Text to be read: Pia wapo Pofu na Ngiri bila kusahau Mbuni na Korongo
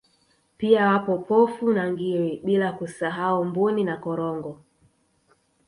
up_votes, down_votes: 0, 2